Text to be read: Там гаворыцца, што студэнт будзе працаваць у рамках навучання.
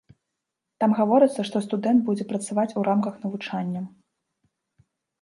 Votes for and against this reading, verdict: 2, 0, accepted